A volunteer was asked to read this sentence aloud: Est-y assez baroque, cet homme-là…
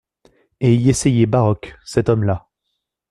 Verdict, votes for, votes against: rejected, 0, 2